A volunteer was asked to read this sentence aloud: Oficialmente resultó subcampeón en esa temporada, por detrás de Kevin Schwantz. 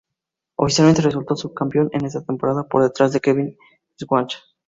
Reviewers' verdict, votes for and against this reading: accepted, 2, 0